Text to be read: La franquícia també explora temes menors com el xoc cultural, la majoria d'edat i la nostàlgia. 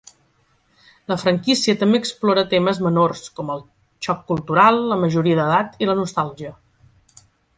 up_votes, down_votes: 1, 2